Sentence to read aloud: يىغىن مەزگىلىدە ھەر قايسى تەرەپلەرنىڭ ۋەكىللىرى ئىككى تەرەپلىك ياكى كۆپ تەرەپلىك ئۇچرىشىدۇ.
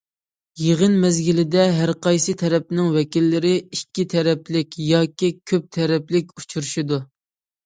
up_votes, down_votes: 0, 2